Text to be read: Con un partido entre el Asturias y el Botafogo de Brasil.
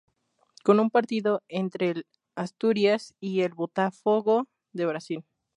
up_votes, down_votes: 2, 2